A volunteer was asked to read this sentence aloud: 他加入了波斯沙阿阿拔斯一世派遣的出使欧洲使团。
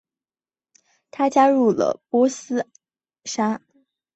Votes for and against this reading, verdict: 0, 2, rejected